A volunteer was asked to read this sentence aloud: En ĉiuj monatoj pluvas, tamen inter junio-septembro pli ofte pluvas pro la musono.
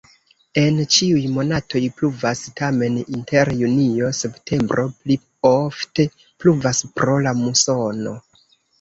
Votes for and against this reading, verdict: 1, 2, rejected